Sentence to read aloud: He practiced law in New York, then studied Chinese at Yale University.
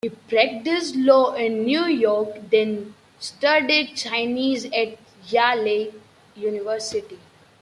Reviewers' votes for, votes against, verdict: 0, 2, rejected